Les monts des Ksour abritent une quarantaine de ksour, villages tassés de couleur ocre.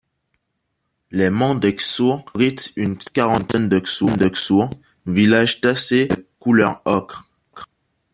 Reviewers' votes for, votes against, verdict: 0, 2, rejected